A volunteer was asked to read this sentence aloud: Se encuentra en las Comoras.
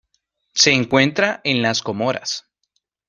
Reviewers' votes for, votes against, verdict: 2, 0, accepted